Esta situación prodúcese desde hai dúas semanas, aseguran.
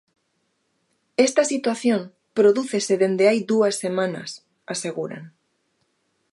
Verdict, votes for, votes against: rejected, 1, 2